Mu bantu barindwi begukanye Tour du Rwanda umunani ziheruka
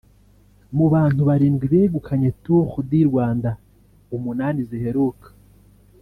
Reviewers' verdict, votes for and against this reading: accepted, 2, 0